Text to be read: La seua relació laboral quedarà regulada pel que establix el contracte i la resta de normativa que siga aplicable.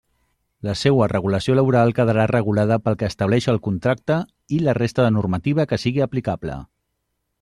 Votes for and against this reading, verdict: 0, 2, rejected